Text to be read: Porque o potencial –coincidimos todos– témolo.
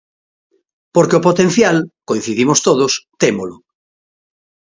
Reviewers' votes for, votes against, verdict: 2, 0, accepted